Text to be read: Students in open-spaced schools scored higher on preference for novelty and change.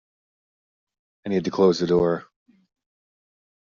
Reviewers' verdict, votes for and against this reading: rejected, 0, 3